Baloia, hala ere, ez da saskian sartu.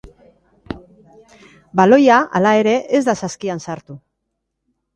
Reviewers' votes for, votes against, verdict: 2, 0, accepted